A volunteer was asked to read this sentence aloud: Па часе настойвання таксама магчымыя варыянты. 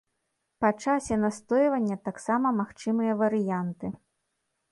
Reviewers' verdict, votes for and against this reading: accepted, 2, 0